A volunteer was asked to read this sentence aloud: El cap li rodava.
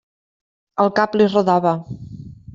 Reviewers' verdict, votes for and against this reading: accepted, 2, 0